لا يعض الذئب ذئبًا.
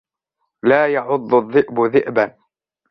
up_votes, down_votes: 2, 0